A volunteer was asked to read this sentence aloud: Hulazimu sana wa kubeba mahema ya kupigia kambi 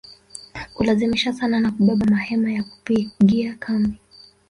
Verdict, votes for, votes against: rejected, 0, 3